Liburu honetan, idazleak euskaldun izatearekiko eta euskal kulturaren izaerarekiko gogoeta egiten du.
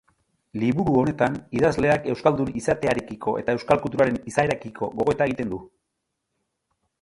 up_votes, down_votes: 2, 0